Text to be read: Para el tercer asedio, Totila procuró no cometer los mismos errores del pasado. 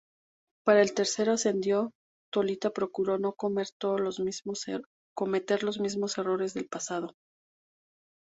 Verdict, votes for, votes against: rejected, 0, 2